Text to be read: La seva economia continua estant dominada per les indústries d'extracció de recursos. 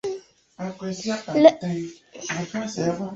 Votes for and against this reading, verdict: 0, 2, rejected